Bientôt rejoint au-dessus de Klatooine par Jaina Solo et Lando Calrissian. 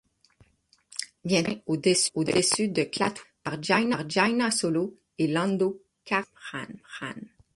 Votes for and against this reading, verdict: 0, 6, rejected